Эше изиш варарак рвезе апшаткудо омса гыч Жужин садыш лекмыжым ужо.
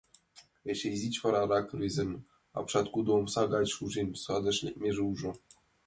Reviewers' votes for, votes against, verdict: 0, 2, rejected